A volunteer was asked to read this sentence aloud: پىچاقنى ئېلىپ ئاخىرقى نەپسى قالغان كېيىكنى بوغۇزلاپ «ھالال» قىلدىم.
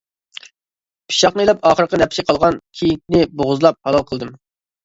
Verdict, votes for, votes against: accepted, 2, 0